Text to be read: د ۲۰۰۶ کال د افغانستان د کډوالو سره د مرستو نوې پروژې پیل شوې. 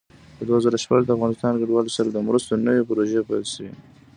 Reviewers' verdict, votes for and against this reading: rejected, 0, 2